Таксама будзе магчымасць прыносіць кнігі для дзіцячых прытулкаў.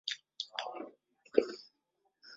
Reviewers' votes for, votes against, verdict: 0, 2, rejected